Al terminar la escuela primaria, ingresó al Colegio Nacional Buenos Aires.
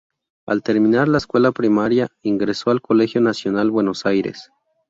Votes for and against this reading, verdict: 2, 0, accepted